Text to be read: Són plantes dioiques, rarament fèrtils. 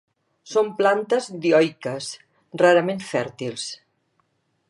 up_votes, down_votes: 3, 0